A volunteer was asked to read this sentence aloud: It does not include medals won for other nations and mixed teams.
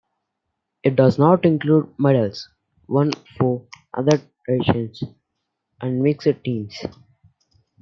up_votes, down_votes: 0, 2